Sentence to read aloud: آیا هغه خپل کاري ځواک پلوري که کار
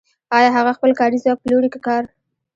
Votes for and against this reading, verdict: 2, 0, accepted